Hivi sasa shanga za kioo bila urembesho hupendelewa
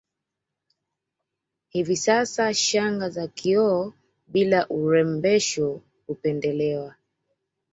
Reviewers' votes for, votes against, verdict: 2, 0, accepted